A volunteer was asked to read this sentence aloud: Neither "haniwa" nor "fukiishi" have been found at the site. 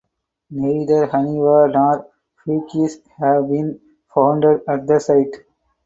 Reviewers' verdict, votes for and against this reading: rejected, 0, 4